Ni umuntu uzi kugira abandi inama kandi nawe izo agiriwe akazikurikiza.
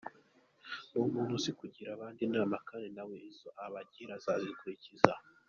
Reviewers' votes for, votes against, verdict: 2, 0, accepted